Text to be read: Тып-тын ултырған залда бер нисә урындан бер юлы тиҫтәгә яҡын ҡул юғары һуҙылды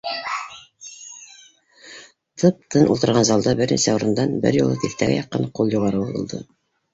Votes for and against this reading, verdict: 2, 0, accepted